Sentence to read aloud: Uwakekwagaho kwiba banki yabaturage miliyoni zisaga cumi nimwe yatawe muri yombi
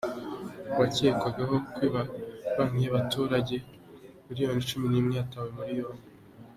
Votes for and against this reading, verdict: 2, 1, accepted